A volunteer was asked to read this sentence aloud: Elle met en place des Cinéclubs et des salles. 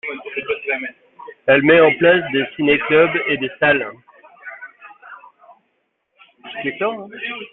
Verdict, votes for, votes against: rejected, 1, 2